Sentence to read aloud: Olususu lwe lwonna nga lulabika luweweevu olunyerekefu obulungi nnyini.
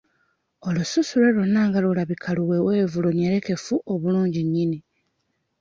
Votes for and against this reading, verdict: 1, 2, rejected